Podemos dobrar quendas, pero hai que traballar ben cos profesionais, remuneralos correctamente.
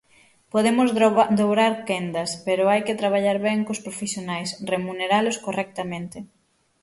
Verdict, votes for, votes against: rejected, 0, 6